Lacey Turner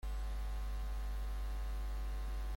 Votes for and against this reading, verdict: 0, 2, rejected